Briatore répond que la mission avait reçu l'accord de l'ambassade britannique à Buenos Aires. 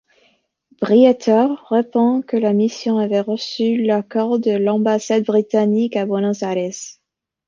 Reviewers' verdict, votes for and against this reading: accepted, 2, 1